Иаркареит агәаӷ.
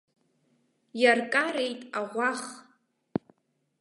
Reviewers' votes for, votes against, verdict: 2, 3, rejected